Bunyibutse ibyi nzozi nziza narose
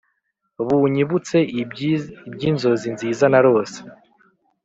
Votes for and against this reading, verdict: 1, 2, rejected